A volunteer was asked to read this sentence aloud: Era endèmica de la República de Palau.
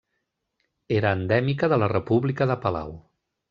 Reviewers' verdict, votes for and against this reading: accepted, 3, 0